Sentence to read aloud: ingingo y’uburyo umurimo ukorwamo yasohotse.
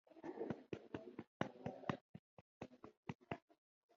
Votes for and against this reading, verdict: 0, 2, rejected